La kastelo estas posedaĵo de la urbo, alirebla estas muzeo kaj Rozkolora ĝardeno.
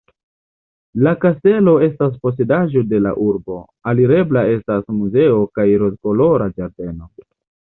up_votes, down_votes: 1, 2